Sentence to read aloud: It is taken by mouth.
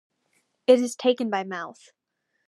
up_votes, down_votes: 2, 0